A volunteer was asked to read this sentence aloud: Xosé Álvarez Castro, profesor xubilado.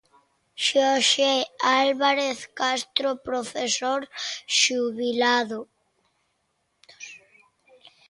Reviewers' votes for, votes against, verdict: 0, 2, rejected